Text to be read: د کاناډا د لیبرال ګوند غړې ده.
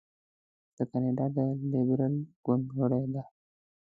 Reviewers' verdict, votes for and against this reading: rejected, 0, 2